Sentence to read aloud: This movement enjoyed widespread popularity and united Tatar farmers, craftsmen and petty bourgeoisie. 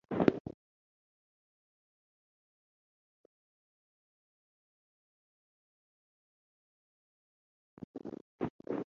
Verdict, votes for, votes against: rejected, 0, 2